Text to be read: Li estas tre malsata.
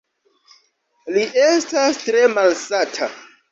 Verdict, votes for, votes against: accepted, 2, 0